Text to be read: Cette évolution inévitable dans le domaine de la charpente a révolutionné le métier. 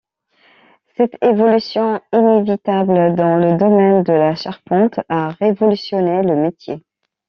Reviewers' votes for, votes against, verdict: 2, 0, accepted